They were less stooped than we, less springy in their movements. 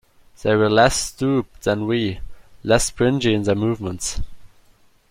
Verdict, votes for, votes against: rejected, 1, 2